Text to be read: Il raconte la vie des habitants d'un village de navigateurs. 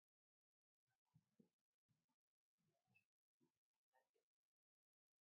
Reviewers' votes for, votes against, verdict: 0, 2, rejected